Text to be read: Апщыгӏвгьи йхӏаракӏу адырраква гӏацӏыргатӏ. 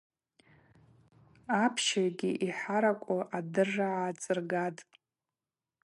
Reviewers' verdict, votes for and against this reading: accepted, 2, 0